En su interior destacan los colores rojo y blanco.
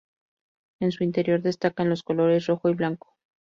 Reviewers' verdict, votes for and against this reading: rejected, 2, 2